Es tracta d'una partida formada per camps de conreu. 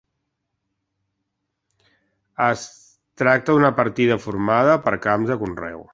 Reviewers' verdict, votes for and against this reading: accepted, 2, 1